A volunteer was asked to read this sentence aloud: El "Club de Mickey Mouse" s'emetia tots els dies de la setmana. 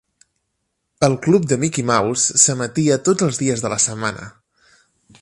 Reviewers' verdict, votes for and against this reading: accepted, 3, 0